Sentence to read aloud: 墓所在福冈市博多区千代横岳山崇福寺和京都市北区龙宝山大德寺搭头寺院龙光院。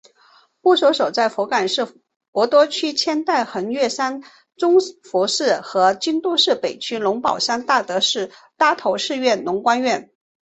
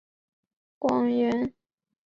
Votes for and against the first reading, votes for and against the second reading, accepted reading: 3, 2, 1, 2, first